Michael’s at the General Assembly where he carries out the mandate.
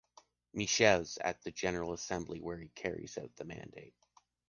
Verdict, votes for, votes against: rejected, 0, 2